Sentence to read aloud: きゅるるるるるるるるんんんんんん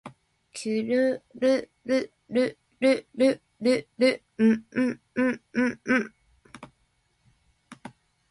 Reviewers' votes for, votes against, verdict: 12, 2, accepted